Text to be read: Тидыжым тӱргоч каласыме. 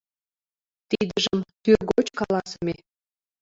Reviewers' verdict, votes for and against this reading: accepted, 2, 0